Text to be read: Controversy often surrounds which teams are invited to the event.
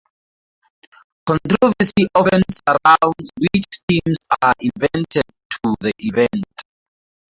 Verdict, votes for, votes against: rejected, 0, 4